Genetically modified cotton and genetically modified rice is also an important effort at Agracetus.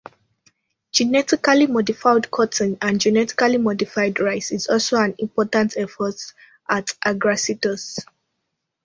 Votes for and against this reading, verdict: 2, 0, accepted